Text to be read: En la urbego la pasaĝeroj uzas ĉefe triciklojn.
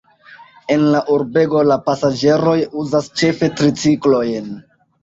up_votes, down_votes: 2, 0